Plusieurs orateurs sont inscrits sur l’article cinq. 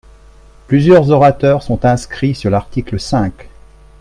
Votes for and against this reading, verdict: 3, 0, accepted